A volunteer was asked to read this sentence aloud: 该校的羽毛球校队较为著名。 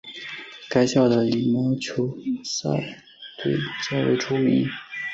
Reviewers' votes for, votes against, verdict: 2, 1, accepted